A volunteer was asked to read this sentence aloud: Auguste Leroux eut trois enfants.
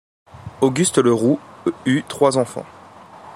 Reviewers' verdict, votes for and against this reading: rejected, 1, 2